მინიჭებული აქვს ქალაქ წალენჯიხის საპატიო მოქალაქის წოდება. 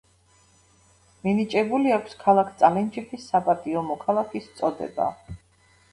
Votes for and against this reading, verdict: 2, 0, accepted